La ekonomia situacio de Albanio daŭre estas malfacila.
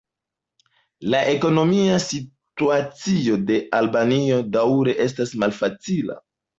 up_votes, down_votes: 1, 2